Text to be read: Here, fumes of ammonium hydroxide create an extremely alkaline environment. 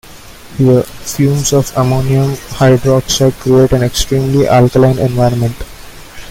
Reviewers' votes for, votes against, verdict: 1, 2, rejected